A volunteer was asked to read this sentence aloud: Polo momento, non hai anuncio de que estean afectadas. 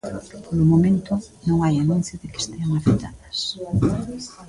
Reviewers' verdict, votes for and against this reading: rejected, 1, 2